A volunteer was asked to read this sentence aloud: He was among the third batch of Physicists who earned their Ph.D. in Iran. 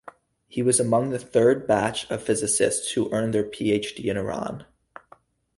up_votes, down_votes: 2, 0